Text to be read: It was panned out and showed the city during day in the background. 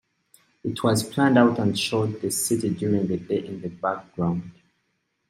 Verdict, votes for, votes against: rejected, 1, 2